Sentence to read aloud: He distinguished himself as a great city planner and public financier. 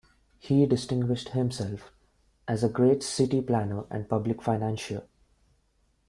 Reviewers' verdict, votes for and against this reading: rejected, 1, 2